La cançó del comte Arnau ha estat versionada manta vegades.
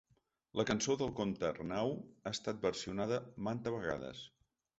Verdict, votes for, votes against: accepted, 3, 0